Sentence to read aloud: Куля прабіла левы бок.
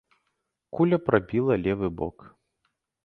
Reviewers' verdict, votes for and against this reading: accepted, 2, 0